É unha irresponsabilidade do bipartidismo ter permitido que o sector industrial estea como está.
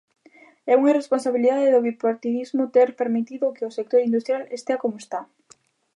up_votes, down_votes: 2, 0